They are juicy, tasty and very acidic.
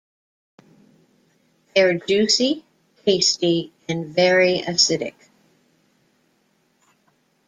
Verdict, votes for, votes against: accepted, 2, 1